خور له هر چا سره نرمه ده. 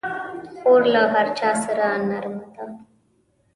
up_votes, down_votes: 2, 0